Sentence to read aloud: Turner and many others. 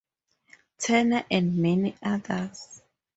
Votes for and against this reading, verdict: 4, 0, accepted